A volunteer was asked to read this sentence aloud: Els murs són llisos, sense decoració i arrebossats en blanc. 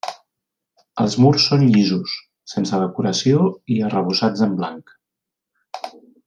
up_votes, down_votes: 3, 0